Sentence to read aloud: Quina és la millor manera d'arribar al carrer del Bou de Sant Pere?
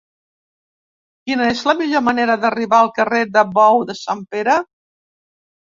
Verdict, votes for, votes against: rejected, 0, 4